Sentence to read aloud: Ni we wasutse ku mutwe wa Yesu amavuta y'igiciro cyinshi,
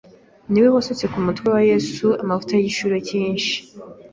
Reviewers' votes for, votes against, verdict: 2, 0, accepted